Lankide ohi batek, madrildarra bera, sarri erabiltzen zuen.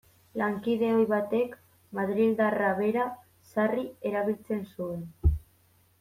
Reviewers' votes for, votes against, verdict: 2, 0, accepted